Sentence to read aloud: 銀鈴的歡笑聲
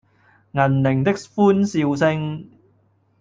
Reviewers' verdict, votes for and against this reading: rejected, 1, 2